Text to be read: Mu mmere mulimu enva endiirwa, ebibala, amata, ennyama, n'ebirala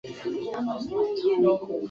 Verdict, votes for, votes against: rejected, 0, 2